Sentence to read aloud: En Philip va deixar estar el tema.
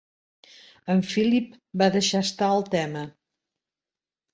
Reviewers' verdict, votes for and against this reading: accepted, 3, 0